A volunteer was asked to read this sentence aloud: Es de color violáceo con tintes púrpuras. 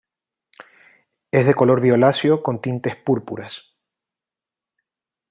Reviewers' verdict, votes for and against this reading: accepted, 2, 0